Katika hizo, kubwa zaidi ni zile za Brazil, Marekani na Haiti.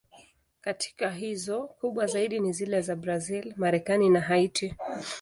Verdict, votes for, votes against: accepted, 2, 0